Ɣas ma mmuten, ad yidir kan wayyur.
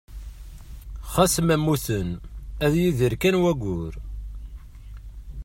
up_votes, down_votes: 2, 0